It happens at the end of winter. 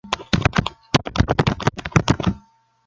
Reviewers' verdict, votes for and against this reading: rejected, 0, 2